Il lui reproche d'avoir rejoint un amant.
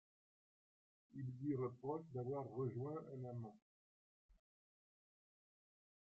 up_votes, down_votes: 1, 2